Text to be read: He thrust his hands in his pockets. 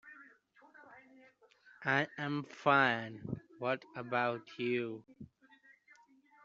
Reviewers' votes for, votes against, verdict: 0, 2, rejected